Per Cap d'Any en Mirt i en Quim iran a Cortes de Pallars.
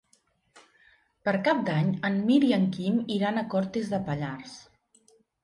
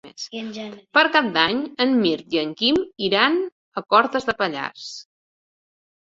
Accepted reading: first